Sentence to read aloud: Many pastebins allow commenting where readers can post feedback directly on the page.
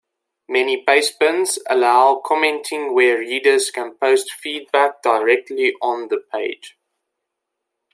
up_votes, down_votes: 2, 0